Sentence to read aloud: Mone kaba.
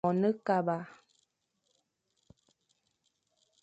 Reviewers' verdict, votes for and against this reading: accepted, 2, 0